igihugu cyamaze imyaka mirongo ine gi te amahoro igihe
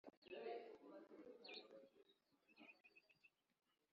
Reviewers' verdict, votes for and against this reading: rejected, 0, 3